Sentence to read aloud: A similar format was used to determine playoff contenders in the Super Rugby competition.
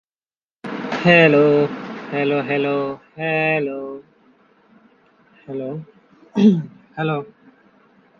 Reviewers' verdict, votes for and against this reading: rejected, 0, 2